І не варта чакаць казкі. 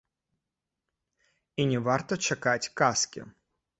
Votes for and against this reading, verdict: 2, 0, accepted